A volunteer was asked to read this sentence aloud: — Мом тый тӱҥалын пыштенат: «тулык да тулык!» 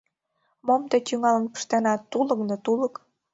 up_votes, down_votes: 1, 2